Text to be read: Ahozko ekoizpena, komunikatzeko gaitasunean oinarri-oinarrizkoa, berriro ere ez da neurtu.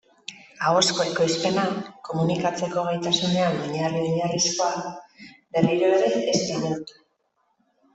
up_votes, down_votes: 0, 2